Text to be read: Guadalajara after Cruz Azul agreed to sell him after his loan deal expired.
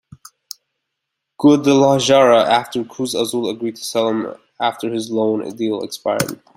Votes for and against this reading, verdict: 2, 0, accepted